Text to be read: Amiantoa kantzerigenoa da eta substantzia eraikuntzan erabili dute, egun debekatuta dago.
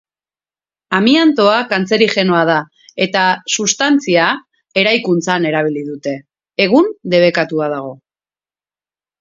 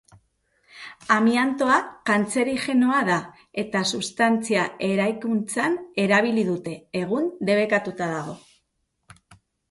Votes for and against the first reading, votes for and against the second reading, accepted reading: 2, 2, 2, 0, second